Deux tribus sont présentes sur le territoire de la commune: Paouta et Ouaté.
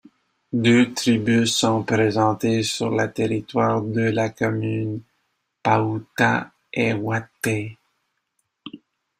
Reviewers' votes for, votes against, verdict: 0, 2, rejected